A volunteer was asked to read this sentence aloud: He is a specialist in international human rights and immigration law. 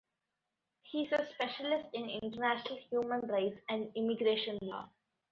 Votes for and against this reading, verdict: 2, 0, accepted